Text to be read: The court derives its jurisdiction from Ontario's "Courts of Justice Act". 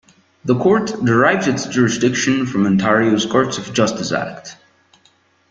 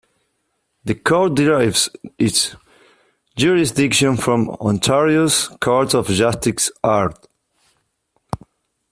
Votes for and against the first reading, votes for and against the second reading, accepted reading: 2, 0, 0, 2, first